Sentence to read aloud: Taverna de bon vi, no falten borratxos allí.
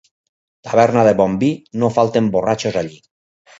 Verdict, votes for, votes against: accepted, 4, 0